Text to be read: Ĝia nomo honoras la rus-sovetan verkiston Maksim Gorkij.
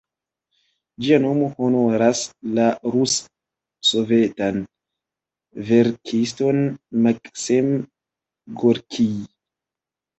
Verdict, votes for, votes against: rejected, 1, 2